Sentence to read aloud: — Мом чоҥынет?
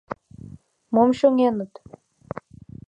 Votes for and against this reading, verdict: 1, 2, rejected